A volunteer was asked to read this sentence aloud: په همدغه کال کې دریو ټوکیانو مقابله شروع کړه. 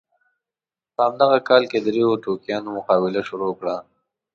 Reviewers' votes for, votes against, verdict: 2, 0, accepted